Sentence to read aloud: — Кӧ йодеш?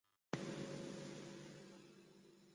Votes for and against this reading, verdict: 0, 2, rejected